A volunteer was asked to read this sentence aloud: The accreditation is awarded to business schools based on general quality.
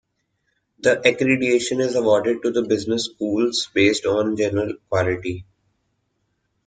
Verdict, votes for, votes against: rejected, 0, 2